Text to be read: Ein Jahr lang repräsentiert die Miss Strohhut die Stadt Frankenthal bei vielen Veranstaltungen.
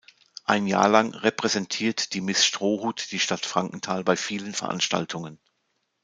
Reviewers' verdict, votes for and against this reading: accepted, 2, 0